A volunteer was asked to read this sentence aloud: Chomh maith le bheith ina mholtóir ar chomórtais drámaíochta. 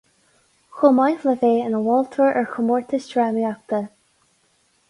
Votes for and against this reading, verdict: 2, 2, rejected